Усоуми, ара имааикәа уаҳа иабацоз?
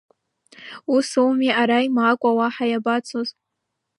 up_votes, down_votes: 1, 2